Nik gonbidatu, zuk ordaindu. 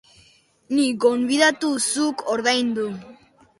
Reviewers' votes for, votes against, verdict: 0, 2, rejected